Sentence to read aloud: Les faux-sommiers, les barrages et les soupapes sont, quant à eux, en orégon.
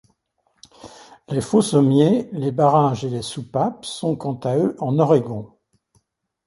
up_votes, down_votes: 2, 0